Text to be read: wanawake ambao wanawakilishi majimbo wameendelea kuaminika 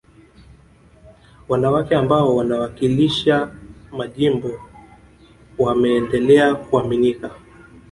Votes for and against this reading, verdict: 1, 2, rejected